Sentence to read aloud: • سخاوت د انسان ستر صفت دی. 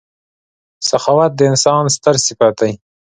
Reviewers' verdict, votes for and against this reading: accepted, 2, 0